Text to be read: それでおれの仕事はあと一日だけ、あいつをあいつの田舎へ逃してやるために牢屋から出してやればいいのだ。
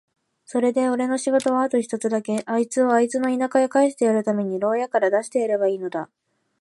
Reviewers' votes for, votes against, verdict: 2, 3, rejected